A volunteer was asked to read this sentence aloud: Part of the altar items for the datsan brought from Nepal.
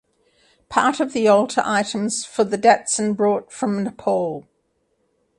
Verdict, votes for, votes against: accepted, 2, 0